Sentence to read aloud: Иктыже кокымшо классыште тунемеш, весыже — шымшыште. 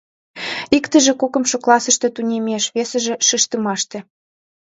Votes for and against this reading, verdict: 0, 2, rejected